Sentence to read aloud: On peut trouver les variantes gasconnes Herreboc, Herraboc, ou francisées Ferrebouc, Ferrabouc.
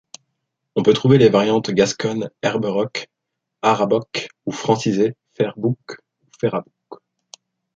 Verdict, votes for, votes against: rejected, 0, 2